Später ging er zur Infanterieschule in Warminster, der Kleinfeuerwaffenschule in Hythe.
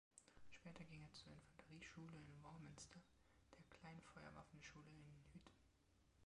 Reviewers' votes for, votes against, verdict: 0, 2, rejected